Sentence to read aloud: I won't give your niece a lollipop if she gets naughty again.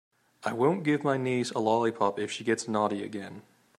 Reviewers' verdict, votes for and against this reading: rejected, 0, 2